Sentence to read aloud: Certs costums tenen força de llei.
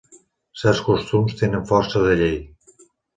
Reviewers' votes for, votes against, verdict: 3, 0, accepted